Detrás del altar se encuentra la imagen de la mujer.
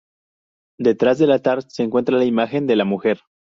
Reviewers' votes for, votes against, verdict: 2, 0, accepted